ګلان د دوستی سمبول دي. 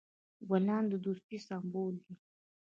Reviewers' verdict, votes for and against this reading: rejected, 1, 2